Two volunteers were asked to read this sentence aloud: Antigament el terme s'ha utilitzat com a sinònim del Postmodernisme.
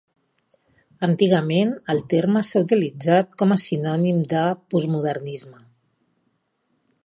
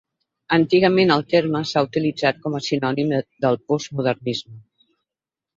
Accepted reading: first